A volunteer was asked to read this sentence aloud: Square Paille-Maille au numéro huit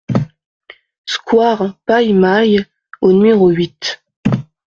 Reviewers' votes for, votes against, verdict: 2, 0, accepted